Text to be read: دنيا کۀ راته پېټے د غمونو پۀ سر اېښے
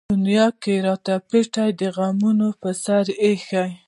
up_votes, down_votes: 2, 0